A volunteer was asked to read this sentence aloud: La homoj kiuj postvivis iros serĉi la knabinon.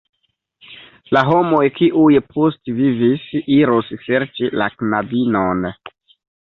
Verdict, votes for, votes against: rejected, 1, 2